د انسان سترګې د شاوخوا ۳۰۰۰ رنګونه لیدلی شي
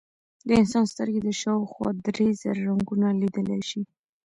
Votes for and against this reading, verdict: 0, 2, rejected